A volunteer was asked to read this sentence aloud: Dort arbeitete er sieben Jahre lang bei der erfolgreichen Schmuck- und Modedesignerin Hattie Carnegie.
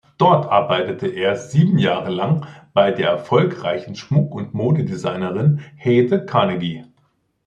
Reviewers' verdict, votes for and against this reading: rejected, 0, 2